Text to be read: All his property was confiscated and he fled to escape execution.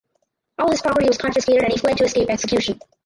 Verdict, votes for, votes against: rejected, 0, 4